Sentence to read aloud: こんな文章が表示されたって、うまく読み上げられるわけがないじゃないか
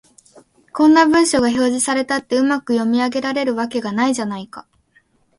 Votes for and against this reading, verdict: 2, 0, accepted